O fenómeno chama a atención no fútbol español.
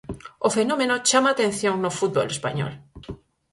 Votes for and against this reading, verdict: 4, 0, accepted